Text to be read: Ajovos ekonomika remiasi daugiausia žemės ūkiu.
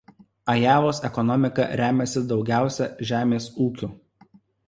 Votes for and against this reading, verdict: 1, 2, rejected